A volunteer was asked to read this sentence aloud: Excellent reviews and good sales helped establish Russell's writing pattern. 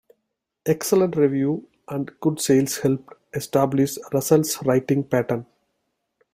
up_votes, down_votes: 0, 2